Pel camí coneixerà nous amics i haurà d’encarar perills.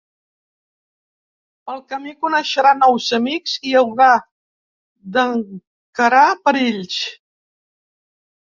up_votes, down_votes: 1, 2